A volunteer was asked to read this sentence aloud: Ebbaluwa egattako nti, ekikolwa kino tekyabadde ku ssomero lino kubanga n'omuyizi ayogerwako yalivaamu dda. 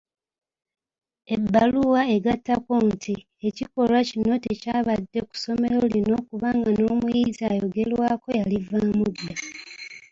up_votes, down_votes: 1, 2